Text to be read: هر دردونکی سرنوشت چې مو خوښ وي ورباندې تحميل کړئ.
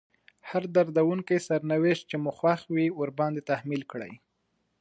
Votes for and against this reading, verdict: 2, 0, accepted